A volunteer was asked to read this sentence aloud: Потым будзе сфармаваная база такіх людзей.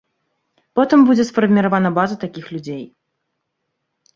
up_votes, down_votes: 0, 3